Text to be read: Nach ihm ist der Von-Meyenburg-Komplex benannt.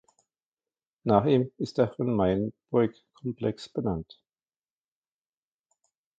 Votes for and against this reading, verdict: 2, 0, accepted